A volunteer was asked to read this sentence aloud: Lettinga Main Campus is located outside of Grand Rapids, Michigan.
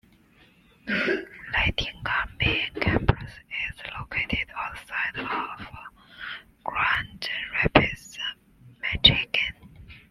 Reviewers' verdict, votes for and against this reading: rejected, 0, 2